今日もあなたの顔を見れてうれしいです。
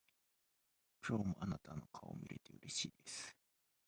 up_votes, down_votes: 0, 2